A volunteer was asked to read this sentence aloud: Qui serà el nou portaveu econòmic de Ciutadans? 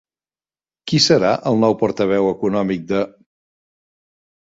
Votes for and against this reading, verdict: 0, 2, rejected